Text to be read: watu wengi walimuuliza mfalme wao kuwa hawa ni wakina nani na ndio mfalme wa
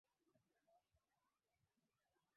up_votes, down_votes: 0, 2